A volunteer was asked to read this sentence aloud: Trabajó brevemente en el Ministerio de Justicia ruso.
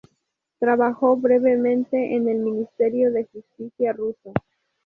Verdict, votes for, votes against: accepted, 2, 0